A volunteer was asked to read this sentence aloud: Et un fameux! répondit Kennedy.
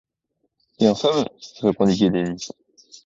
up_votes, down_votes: 2, 1